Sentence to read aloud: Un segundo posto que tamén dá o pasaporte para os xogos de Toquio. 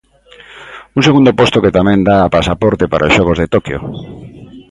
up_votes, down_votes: 1, 2